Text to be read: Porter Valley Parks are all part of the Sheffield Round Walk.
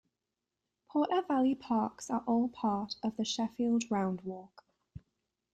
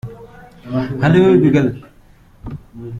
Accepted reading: first